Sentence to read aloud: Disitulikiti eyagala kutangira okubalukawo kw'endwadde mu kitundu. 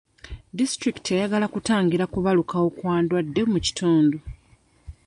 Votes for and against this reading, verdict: 0, 2, rejected